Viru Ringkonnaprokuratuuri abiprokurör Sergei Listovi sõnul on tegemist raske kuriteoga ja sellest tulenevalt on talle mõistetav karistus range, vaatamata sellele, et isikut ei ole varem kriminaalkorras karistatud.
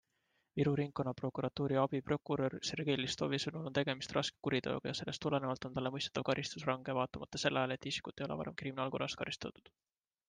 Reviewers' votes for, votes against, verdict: 2, 0, accepted